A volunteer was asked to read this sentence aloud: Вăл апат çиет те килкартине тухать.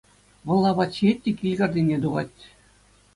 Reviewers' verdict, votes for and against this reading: accepted, 2, 0